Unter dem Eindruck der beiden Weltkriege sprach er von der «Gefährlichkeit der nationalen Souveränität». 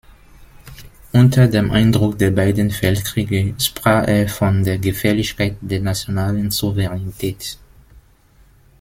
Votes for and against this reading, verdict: 1, 2, rejected